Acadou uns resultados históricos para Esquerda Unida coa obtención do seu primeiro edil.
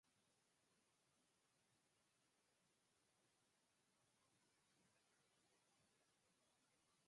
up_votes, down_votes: 0, 4